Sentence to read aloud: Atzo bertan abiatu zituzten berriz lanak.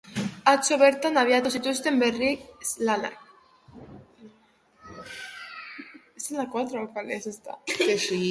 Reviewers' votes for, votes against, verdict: 0, 2, rejected